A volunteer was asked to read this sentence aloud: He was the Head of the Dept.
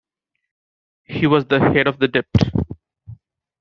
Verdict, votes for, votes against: rejected, 1, 2